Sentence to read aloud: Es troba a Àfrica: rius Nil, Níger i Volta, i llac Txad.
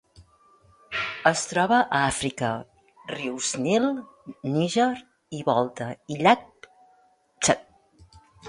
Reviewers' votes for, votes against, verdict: 2, 1, accepted